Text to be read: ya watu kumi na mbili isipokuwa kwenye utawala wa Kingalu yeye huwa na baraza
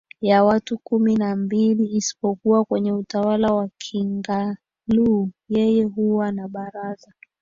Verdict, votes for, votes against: rejected, 0, 2